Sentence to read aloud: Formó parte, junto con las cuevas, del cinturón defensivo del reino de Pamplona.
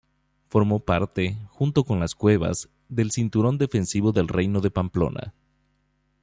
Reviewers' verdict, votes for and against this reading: accepted, 2, 0